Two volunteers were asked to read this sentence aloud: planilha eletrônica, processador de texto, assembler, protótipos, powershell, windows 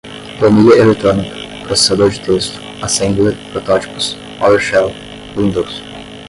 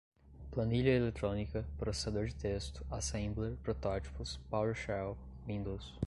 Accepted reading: second